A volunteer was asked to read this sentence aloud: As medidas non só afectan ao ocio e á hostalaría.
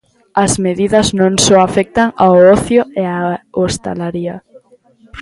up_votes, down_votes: 1, 2